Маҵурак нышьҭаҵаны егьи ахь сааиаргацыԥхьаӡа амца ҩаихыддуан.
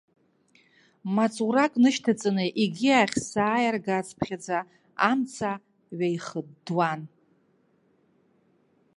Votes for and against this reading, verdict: 2, 1, accepted